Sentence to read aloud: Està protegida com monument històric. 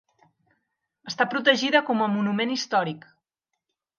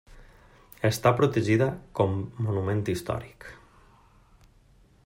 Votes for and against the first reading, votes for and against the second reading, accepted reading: 0, 2, 3, 0, second